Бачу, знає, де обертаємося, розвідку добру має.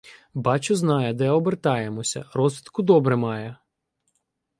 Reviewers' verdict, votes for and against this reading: rejected, 1, 2